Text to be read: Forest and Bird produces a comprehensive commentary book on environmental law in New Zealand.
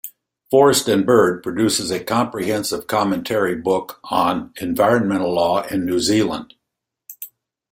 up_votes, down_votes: 2, 0